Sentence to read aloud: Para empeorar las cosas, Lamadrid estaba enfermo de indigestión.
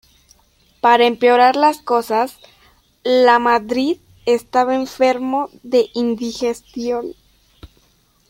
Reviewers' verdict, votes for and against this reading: rejected, 1, 2